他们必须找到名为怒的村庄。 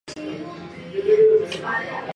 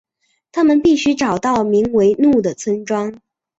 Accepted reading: second